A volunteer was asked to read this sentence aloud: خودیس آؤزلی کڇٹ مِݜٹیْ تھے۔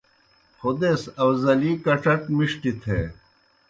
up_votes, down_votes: 2, 0